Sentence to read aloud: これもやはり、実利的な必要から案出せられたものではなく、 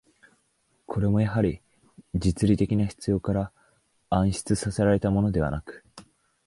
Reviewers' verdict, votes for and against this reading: accepted, 9, 4